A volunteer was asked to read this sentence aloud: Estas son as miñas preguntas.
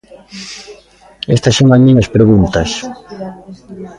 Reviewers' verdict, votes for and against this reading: rejected, 1, 2